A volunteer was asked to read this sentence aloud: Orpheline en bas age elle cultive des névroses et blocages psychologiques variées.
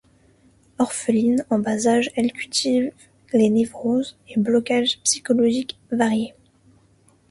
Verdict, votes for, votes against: rejected, 0, 2